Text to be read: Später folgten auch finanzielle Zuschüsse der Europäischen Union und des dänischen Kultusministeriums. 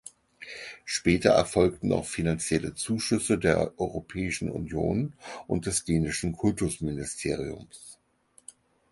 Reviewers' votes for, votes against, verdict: 0, 4, rejected